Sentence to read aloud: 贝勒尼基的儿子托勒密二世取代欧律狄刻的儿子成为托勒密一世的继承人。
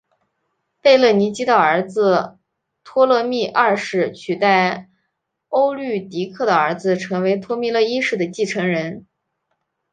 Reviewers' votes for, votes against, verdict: 4, 1, accepted